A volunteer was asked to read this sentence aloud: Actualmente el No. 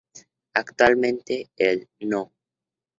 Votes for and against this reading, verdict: 2, 0, accepted